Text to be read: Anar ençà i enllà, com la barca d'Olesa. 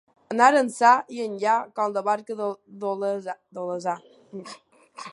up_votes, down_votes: 0, 3